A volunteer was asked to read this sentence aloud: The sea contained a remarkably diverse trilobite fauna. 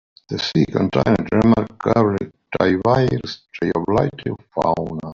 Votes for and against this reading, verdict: 1, 2, rejected